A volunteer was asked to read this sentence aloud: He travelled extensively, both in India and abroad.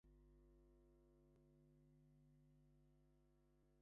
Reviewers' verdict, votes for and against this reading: rejected, 0, 2